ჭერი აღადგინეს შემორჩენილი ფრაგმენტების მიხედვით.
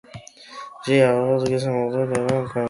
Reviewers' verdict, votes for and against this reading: rejected, 1, 2